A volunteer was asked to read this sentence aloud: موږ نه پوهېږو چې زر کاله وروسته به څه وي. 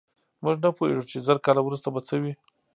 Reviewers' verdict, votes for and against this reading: accepted, 2, 0